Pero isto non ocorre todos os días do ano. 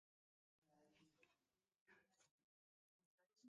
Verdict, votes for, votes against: rejected, 0, 2